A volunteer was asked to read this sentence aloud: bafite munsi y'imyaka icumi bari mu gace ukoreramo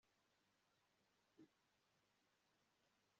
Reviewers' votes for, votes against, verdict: 2, 1, accepted